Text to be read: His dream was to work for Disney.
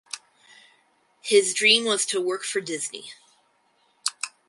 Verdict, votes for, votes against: accepted, 4, 0